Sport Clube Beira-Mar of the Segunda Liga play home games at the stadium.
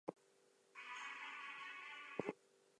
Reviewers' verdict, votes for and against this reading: rejected, 0, 4